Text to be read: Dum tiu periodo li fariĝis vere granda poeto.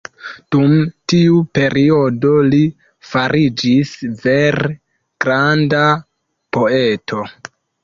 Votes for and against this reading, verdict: 2, 1, accepted